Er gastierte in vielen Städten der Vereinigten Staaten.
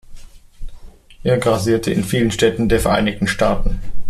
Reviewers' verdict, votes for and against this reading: rejected, 0, 2